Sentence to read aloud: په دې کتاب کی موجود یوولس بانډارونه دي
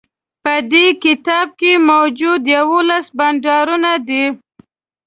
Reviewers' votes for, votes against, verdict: 2, 0, accepted